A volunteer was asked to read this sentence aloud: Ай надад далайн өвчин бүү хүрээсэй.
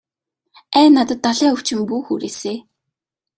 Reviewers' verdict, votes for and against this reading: accepted, 2, 0